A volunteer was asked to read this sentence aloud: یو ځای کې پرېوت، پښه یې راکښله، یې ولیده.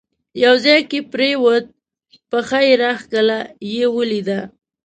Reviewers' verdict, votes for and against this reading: accepted, 2, 0